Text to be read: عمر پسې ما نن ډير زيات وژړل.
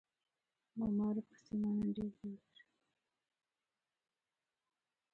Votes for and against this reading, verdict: 0, 2, rejected